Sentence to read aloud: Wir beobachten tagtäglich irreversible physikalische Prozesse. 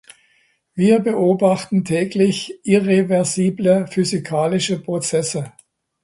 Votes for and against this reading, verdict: 0, 2, rejected